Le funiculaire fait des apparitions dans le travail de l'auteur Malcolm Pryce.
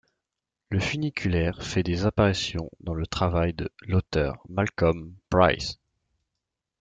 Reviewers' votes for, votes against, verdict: 2, 0, accepted